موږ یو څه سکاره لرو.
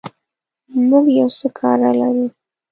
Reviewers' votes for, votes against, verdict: 0, 2, rejected